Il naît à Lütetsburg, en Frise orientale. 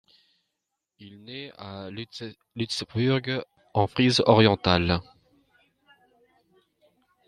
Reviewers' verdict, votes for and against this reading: rejected, 1, 2